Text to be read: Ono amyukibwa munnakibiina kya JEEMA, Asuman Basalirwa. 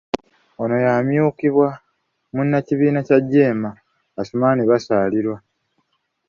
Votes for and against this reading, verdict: 0, 2, rejected